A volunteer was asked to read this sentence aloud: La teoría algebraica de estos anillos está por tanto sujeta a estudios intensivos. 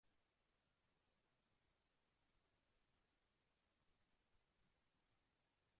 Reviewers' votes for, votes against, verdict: 0, 2, rejected